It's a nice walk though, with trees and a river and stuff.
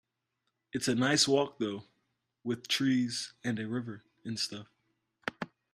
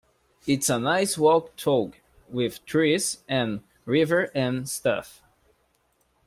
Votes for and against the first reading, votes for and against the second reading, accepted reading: 2, 0, 0, 2, first